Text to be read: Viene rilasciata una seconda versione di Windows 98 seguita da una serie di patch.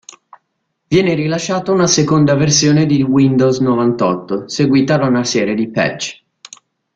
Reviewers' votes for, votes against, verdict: 0, 2, rejected